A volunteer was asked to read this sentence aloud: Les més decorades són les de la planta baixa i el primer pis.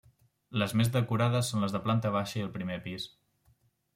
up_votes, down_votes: 0, 2